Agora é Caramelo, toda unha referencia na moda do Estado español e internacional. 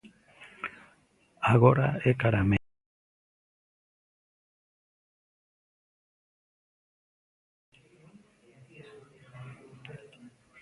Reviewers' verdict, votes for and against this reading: rejected, 0, 2